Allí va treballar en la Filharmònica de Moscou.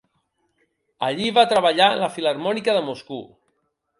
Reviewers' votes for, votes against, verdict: 0, 2, rejected